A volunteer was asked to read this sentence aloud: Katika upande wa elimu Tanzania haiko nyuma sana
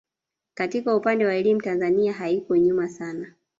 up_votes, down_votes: 1, 2